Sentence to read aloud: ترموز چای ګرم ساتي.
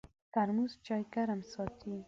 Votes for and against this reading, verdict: 2, 0, accepted